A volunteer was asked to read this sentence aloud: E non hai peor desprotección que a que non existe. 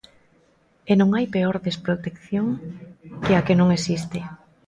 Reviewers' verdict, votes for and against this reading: accepted, 2, 0